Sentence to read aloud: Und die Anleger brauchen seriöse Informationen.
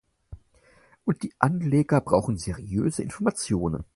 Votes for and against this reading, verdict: 4, 0, accepted